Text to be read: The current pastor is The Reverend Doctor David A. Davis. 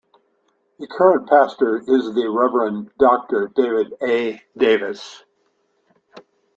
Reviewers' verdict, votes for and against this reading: accepted, 2, 0